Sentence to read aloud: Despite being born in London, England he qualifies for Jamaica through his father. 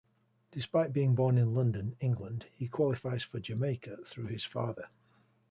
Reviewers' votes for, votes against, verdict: 2, 0, accepted